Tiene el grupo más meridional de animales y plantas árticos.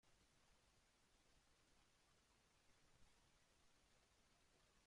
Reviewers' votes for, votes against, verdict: 0, 2, rejected